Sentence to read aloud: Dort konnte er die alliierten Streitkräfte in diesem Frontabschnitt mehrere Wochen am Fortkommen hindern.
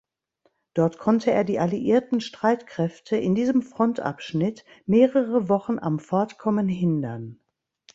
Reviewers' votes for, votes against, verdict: 2, 0, accepted